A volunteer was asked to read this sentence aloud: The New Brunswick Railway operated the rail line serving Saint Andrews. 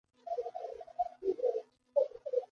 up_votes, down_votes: 0, 2